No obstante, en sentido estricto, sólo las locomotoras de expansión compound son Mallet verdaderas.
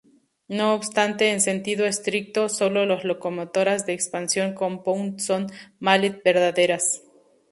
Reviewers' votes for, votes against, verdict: 0, 2, rejected